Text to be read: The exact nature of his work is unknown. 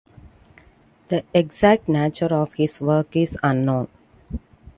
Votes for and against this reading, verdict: 2, 0, accepted